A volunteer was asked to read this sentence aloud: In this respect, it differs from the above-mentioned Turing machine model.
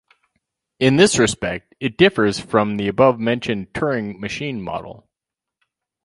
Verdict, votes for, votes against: accepted, 4, 0